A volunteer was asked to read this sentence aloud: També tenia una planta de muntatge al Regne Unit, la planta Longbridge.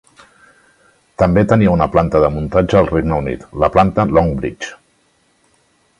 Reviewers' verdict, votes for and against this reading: accepted, 4, 0